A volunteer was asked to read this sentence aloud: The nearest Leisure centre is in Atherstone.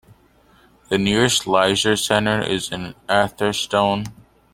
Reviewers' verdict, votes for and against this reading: accepted, 2, 1